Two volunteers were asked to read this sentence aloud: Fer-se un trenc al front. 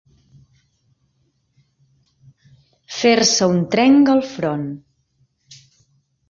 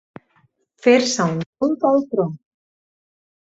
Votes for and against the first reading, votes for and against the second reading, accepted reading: 2, 0, 2, 6, first